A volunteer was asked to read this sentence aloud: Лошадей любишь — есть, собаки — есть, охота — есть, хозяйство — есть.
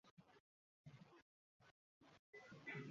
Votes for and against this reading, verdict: 0, 2, rejected